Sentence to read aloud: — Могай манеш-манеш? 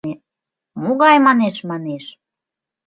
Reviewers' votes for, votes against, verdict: 2, 0, accepted